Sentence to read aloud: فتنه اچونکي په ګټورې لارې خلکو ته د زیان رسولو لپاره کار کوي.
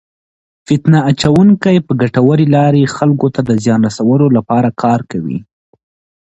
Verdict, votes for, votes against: accepted, 2, 0